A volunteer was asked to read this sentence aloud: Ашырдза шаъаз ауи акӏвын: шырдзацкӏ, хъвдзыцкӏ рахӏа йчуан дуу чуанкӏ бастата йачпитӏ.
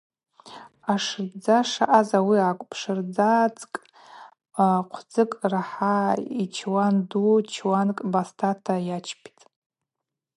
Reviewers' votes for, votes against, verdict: 0, 2, rejected